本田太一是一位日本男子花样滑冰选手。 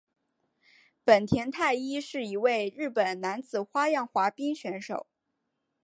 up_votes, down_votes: 3, 1